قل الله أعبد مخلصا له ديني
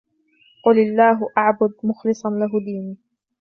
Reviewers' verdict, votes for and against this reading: accepted, 2, 0